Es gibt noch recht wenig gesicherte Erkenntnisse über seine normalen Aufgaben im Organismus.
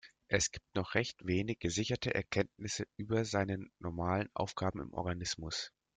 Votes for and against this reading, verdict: 1, 2, rejected